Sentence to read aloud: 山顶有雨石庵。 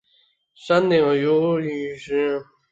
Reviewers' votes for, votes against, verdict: 0, 4, rejected